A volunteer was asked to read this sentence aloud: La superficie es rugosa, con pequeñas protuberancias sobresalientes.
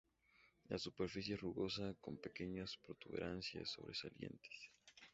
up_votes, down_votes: 2, 0